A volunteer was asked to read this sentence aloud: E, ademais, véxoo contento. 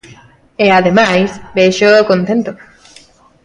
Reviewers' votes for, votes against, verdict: 2, 0, accepted